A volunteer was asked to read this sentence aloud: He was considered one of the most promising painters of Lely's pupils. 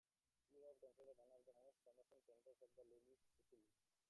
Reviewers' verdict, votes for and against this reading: rejected, 0, 2